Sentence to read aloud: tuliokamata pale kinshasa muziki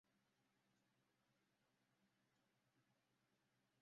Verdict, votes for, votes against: rejected, 0, 2